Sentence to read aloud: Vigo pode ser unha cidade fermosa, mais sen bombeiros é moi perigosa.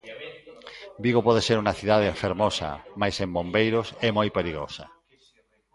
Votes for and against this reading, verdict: 0, 2, rejected